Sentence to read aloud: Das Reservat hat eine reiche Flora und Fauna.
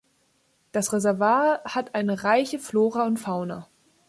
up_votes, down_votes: 1, 2